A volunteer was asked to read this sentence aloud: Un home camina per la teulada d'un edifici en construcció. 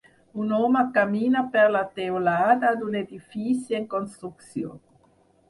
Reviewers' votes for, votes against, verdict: 6, 0, accepted